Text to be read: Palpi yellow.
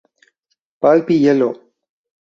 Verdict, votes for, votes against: rejected, 2, 2